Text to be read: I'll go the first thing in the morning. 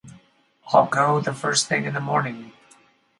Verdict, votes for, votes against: accepted, 4, 0